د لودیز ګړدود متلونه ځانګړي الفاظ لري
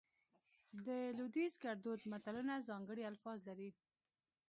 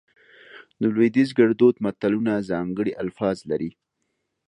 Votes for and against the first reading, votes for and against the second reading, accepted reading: 1, 2, 2, 0, second